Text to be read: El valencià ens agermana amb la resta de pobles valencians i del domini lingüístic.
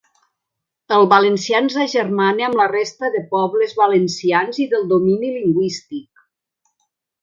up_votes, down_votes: 3, 0